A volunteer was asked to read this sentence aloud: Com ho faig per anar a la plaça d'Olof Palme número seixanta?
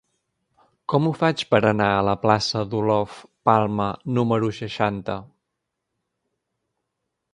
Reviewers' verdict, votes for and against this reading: accepted, 3, 0